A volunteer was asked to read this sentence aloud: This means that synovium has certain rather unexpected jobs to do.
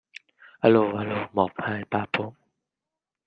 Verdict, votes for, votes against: rejected, 0, 2